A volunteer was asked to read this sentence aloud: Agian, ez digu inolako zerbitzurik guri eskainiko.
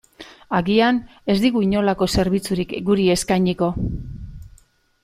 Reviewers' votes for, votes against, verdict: 2, 0, accepted